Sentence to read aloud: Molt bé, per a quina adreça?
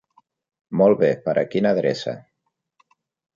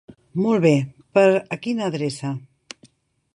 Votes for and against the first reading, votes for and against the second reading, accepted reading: 3, 0, 1, 2, first